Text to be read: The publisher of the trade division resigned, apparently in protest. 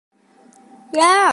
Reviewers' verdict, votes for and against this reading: rejected, 0, 2